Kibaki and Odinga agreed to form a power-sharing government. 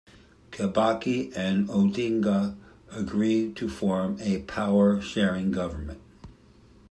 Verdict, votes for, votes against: accepted, 2, 0